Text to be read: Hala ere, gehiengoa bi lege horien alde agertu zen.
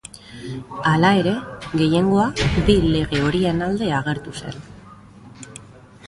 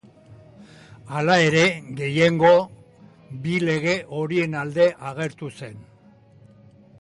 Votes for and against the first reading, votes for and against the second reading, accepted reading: 2, 0, 1, 2, first